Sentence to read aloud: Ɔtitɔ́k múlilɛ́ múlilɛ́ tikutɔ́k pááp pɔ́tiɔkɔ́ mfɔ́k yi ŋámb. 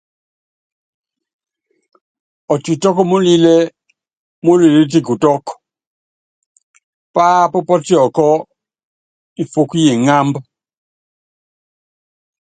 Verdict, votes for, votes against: accepted, 2, 0